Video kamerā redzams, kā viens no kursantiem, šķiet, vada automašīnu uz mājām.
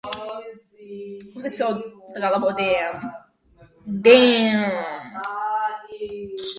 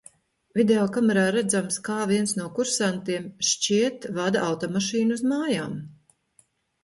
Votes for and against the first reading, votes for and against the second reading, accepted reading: 0, 2, 2, 0, second